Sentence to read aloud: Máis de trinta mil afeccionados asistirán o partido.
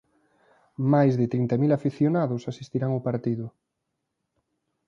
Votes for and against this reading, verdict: 3, 0, accepted